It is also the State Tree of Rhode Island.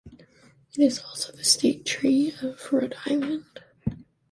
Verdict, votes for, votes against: rejected, 0, 2